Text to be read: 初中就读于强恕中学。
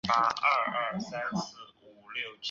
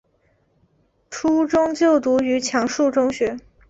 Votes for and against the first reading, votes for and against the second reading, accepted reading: 0, 3, 2, 1, second